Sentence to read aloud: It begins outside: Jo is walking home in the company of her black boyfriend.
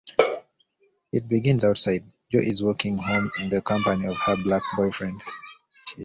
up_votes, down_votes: 1, 2